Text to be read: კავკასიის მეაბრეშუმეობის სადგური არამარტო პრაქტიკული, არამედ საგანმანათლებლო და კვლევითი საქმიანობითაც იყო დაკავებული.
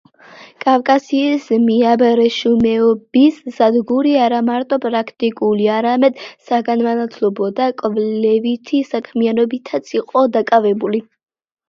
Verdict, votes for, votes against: accepted, 3, 0